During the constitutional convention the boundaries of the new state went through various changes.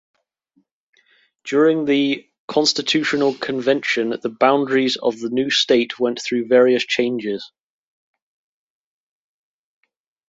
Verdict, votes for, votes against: accepted, 2, 0